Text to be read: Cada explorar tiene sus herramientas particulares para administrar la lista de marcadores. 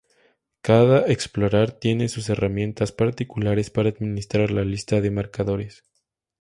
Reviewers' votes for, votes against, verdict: 2, 0, accepted